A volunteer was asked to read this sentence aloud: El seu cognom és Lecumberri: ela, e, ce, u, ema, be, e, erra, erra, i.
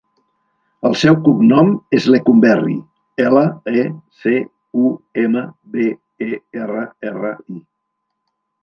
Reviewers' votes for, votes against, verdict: 2, 3, rejected